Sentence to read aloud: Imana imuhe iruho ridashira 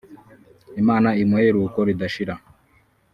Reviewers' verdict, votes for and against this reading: rejected, 1, 2